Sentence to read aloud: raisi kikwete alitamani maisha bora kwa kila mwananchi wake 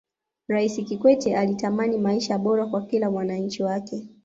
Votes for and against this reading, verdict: 2, 0, accepted